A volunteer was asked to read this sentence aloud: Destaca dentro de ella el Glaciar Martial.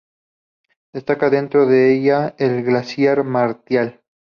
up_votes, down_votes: 2, 0